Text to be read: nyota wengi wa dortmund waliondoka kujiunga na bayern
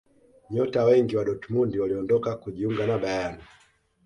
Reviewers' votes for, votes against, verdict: 2, 0, accepted